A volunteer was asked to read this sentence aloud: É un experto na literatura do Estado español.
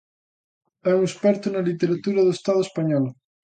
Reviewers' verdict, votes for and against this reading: accepted, 2, 0